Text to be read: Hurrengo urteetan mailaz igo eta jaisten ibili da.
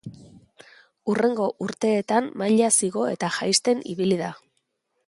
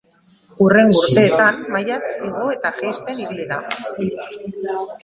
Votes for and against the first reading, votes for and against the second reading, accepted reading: 2, 0, 1, 3, first